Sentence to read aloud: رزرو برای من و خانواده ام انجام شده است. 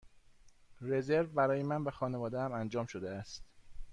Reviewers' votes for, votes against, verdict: 2, 0, accepted